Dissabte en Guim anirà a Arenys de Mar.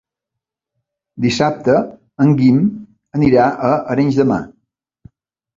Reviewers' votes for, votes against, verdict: 3, 0, accepted